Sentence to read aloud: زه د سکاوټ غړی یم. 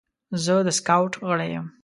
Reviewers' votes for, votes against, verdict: 2, 1, accepted